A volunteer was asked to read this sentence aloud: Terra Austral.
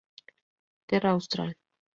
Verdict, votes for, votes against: accepted, 2, 0